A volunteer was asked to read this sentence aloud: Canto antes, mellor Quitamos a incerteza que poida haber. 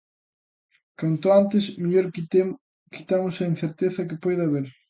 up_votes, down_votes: 0, 2